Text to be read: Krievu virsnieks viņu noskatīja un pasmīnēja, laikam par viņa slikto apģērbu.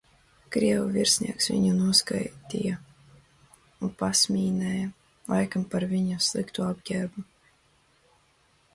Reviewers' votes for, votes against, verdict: 0, 2, rejected